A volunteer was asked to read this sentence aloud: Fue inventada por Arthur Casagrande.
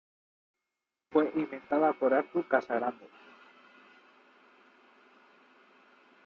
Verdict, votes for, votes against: rejected, 0, 2